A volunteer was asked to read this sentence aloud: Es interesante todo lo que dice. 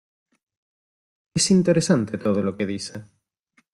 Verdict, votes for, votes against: accepted, 2, 0